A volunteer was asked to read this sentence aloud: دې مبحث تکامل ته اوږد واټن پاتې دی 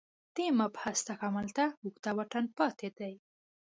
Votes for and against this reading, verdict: 2, 0, accepted